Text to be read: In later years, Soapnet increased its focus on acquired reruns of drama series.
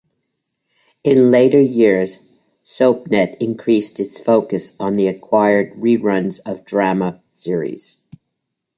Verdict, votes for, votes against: accepted, 3, 0